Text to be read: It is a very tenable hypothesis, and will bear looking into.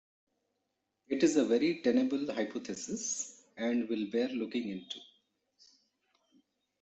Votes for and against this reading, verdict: 2, 1, accepted